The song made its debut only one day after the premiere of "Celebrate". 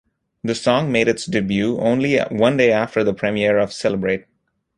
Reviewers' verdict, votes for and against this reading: accepted, 2, 0